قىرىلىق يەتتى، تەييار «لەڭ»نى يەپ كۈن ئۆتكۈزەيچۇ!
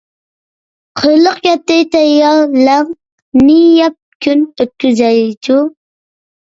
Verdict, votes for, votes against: accepted, 2, 1